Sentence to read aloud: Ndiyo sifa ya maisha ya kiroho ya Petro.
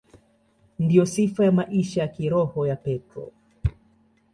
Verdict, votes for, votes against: accepted, 2, 0